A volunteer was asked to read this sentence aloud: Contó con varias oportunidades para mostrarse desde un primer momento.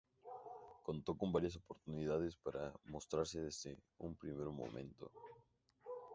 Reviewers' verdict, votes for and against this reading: accepted, 2, 0